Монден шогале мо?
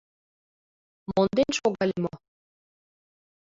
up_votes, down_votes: 2, 1